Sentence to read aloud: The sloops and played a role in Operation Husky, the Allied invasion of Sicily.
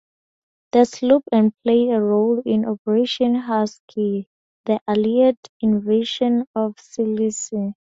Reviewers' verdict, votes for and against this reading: accepted, 2, 0